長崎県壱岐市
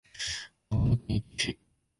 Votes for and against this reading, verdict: 0, 2, rejected